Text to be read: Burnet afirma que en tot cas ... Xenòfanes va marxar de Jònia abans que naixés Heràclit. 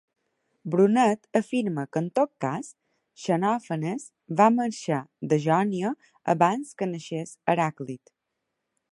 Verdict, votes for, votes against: rejected, 1, 3